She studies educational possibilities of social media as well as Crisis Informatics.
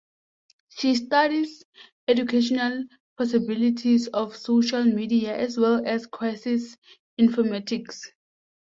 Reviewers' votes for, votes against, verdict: 2, 0, accepted